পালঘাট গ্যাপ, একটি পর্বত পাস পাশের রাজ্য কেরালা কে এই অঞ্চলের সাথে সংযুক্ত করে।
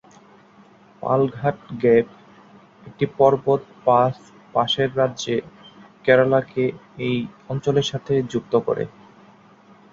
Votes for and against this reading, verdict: 1, 2, rejected